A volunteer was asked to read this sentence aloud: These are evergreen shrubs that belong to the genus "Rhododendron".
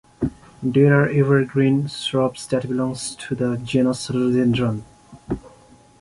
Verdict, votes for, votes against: rejected, 0, 2